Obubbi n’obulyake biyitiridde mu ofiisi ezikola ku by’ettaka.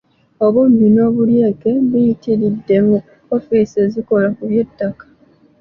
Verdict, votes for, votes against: accepted, 2, 1